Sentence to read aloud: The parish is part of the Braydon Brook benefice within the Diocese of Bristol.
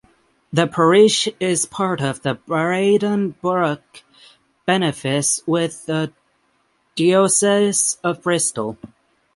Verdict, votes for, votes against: rejected, 3, 6